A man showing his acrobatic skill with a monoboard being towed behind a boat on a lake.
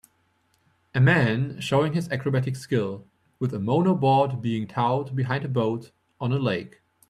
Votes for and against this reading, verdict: 2, 0, accepted